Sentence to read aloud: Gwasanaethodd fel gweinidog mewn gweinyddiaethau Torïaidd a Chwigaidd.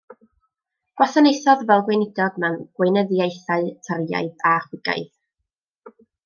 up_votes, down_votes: 0, 2